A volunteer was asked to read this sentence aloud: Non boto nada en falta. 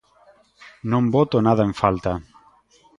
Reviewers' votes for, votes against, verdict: 2, 0, accepted